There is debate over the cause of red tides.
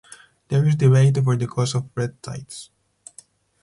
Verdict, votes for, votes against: accepted, 4, 0